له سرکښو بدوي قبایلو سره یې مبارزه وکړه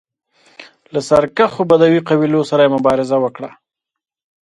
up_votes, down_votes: 2, 0